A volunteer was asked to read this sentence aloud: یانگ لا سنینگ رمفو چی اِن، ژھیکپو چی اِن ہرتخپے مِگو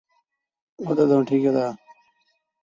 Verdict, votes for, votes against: rejected, 0, 2